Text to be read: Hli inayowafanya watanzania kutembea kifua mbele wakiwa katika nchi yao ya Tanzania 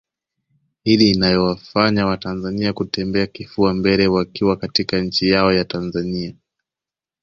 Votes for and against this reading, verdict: 2, 0, accepted